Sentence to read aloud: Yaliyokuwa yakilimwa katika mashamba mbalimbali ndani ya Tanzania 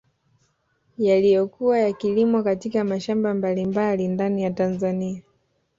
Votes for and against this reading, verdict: 0, 2, rejected